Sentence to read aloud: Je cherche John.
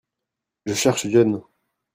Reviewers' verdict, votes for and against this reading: rejected, 1, 2